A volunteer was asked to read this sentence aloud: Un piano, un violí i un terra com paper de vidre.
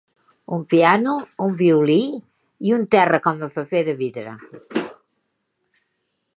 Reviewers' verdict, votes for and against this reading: rejected, 0, 2